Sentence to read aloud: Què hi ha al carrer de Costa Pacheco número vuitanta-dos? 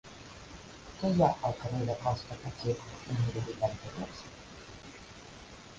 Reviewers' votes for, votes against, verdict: 1, 2, rejected